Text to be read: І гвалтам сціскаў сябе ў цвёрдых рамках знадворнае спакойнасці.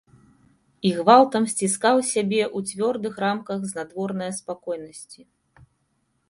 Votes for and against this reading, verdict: 2, 0, accepted